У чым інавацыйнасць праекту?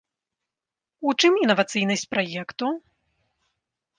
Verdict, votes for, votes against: accepted, 2, 0